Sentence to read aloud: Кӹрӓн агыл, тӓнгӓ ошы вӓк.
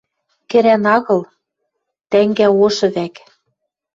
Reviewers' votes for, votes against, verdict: 2, 0, accepted